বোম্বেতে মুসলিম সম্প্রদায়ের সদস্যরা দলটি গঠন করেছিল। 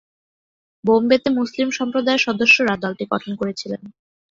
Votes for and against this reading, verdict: 0, 2, rejected